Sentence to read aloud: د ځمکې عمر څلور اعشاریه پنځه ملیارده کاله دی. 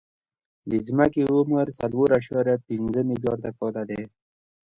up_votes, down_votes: 2, 0